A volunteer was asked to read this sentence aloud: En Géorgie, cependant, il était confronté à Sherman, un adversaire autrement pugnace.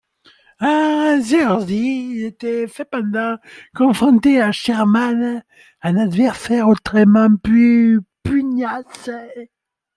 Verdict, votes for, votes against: rejected, 1, 2